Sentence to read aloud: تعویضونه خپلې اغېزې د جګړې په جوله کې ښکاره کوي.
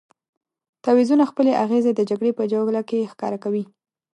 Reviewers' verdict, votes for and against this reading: accepted, 2, 0